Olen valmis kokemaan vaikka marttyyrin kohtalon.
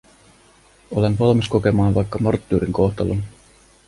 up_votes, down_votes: 2, 0